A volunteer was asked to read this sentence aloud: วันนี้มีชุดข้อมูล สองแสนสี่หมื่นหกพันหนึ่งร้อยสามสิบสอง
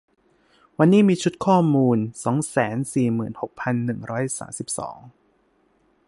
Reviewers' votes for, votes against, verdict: 2, 0, accepted